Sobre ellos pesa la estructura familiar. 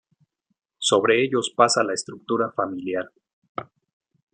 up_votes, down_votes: 0, 2